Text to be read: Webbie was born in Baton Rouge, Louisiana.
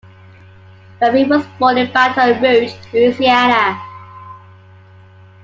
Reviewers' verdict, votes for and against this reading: accepted, 2, 1